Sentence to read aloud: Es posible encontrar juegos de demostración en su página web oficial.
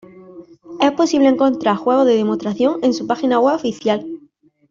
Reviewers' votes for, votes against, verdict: 2, 0, accepted